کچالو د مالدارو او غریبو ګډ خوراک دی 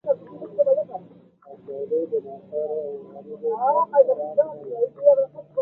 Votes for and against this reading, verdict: 1, 2, rejected